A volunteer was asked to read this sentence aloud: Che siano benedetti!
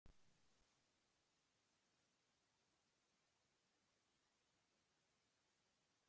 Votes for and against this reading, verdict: 0, 2, rejected